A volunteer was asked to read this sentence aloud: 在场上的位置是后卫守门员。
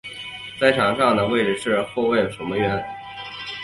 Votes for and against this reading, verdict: 1, 2, rejected